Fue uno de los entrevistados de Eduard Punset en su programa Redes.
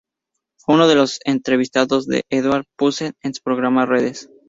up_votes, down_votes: 2, 2